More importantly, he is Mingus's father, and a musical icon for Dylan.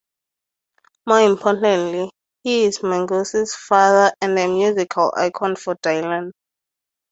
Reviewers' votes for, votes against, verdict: 2, 2, rejected